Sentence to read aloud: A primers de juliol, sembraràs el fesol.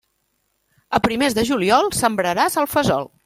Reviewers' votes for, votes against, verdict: 3, 0, accepted